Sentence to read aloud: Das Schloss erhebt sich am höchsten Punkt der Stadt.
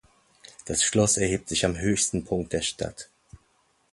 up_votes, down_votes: 2, 0